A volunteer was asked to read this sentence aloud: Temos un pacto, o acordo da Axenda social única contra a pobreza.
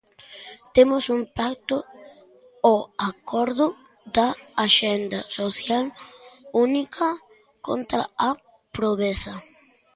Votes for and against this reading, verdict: 0, 2, rejected